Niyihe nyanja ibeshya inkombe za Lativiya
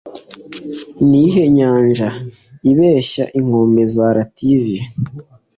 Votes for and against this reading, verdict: 2, 0, accepted